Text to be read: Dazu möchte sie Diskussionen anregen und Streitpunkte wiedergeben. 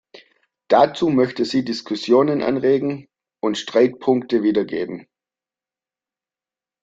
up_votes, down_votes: 2, 0